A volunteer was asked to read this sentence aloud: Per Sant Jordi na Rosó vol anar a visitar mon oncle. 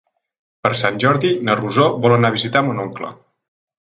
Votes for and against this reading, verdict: 3, 0, accepted